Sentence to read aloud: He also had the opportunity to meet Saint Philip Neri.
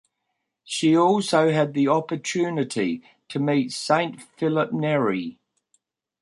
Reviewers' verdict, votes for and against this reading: rejected, 0, 2